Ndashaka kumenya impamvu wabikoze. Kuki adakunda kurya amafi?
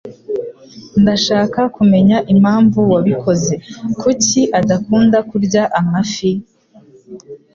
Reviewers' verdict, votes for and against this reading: accepted, 2, 0